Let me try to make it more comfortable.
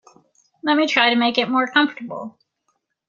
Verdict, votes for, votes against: accepted, 3, 0